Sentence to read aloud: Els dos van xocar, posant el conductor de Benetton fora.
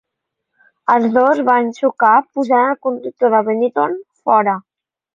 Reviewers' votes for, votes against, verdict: 3, 0, accepted